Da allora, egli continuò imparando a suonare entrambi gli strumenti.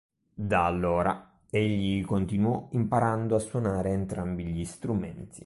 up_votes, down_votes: 2, 0